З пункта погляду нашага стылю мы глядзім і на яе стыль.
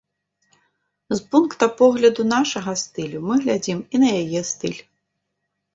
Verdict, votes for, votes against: accepted, 2, 1